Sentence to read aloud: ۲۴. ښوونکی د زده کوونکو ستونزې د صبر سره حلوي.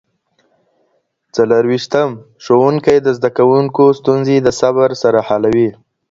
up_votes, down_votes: 0, 2